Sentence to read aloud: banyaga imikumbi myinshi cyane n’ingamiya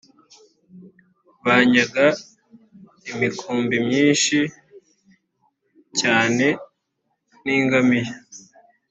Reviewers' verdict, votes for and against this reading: accepted, 2, 0